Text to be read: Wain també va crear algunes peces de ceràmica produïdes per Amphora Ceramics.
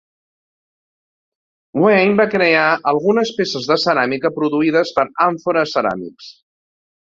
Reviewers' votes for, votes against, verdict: 1, 2, rejected